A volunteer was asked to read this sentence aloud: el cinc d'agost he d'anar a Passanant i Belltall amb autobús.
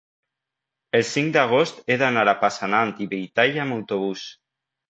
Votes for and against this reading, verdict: 2, 0, accepted